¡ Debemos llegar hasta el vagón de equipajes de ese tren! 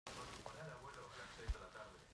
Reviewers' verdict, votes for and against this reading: rejected, 0, 2